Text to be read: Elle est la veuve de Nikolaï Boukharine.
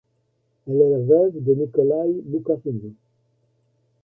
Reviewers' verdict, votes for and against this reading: rejected, 1, 2